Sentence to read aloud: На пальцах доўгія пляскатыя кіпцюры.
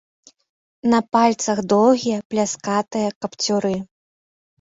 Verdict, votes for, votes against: rejected, 0, 2